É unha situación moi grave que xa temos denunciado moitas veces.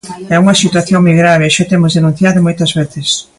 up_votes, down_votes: 0, 2